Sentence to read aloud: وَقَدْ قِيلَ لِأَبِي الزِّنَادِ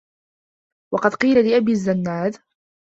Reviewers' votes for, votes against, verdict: 0, 2, rejected